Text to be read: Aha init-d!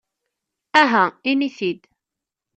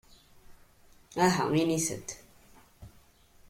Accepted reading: second